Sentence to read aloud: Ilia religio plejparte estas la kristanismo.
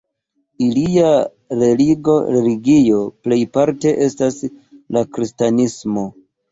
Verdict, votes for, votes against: rejected, 1, 3